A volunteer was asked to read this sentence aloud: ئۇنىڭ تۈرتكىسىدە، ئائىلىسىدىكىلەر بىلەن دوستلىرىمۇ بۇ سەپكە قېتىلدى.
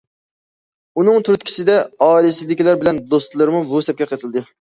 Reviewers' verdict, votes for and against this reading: accepted, 2, 0